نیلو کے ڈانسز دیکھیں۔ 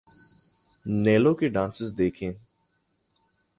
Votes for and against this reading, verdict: 2, 0, accepted